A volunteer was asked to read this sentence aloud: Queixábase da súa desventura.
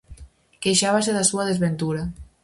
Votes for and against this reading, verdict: 4, 0, accepted